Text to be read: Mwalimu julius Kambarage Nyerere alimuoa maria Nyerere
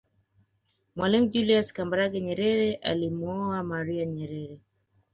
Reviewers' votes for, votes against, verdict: 2, 0, accepted